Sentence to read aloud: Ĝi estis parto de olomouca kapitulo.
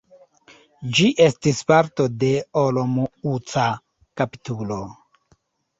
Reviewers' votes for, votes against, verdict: 0, 2, rejected